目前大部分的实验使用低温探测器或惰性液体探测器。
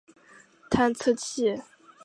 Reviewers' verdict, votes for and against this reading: rejected, 0, 2